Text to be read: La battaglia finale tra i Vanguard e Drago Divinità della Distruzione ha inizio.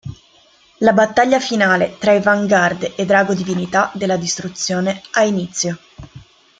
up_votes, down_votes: 2, 0